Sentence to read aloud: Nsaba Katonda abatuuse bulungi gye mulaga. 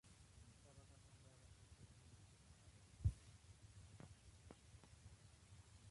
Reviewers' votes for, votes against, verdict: 0, 2, rejected